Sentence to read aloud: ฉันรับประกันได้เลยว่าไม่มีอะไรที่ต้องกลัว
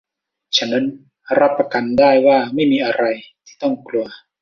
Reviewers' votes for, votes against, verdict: 1, 2, rejected